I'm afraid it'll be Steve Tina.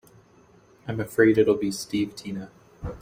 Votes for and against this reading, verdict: 2, 0, accepted